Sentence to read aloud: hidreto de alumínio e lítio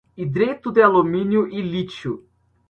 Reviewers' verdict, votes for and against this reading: accepted, 2, 0